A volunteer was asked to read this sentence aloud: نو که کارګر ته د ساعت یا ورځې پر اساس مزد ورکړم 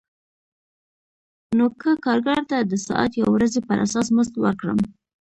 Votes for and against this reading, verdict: 2, 0, accepted